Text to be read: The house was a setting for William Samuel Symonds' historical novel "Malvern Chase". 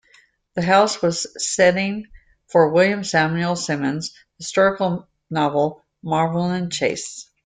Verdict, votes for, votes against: rejected, 0, 2